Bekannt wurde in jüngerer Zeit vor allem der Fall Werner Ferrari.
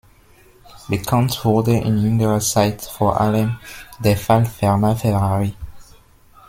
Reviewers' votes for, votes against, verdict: 1, 2, rejected